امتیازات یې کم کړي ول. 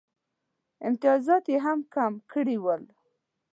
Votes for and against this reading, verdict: 1, 2, rejected